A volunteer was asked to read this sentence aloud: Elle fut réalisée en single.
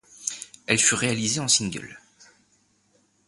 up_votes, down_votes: 2, 0